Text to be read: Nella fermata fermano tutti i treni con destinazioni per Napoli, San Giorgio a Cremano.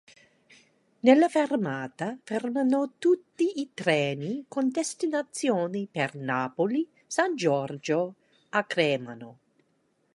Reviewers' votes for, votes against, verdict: 1, 2, rejected